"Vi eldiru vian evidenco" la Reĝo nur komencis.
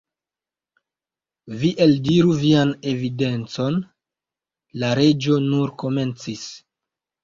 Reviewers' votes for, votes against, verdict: 1, 2, rejected